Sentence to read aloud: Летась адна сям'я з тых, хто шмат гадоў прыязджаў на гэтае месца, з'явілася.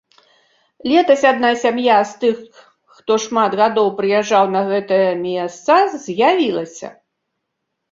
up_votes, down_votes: 1, 2